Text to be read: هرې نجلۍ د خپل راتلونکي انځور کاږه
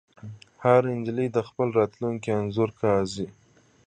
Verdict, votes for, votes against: accepted, 2, 0